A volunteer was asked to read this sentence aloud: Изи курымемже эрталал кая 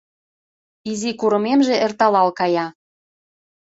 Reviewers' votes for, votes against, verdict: 2, 0, accepted